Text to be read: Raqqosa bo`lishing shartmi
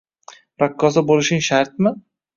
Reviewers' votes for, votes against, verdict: 1, 2, rejected